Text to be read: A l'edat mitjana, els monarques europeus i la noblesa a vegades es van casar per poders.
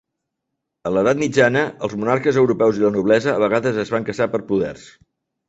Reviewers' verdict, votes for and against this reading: accepted, 5, 0